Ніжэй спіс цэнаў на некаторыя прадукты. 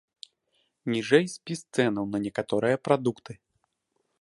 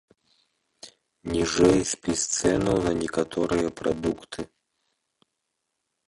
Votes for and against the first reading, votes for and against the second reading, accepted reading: 2, 0, 0, 2, first